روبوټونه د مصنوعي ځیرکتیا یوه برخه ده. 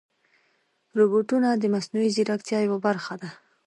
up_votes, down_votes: 2, 0